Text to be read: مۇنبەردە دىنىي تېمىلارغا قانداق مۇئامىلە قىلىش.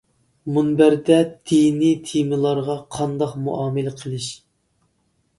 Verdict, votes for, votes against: accepted, 2, 0